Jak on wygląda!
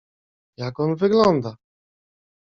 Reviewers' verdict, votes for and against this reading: accepted, 2, 0